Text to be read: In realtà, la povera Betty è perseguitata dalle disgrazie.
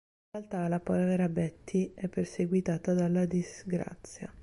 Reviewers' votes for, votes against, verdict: 0, 2, rejected